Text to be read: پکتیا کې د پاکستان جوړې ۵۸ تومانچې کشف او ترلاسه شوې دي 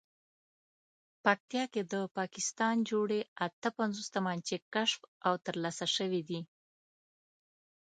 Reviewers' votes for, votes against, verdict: 0, 2, rejected